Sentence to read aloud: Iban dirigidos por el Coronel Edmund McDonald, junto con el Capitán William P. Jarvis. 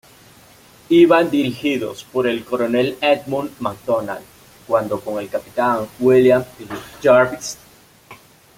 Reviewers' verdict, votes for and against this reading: rejected, 1, 2